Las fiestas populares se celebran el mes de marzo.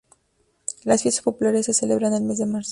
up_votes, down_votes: 2, 0